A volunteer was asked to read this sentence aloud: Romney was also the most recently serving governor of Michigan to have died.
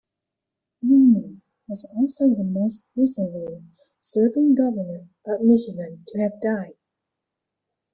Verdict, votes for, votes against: rejected, 0, 2